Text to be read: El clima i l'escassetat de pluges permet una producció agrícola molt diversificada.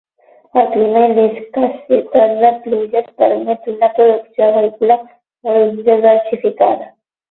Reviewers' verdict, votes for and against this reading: rejected, 0, 12